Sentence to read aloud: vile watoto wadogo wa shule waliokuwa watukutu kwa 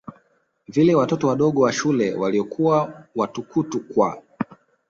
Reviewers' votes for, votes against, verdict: 2, 0, accepted